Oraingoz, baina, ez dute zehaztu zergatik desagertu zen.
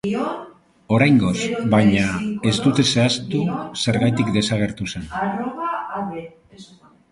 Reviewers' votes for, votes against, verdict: 0, 2, rejected